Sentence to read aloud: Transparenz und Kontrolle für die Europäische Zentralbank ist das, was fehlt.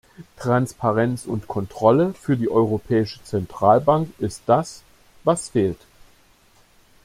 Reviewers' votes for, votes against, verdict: 2, 0, accepted